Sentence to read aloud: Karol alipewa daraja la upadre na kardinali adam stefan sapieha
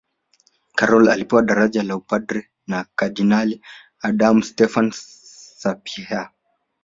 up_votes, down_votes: 2, 0